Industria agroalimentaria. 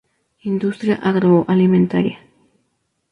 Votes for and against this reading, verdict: 2, 2, rejected